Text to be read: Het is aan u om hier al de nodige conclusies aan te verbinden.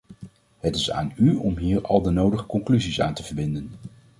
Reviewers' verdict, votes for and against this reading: accepted, 2, 0